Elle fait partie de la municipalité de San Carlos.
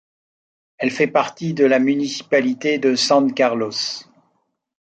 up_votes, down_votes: 2, 0